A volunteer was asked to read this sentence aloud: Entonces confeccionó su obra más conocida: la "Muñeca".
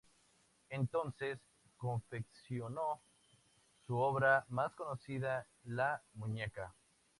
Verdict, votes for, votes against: accepted, 2, 0